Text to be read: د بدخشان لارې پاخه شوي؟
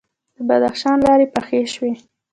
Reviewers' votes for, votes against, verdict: 1, 2, rejected